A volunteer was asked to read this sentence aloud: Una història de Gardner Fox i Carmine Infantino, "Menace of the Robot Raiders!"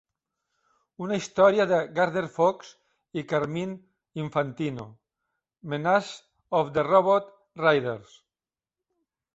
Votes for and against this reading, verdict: 2, 0, accepted